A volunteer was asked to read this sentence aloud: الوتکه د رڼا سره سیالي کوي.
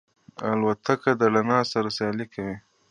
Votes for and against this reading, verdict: 4, 0, accepted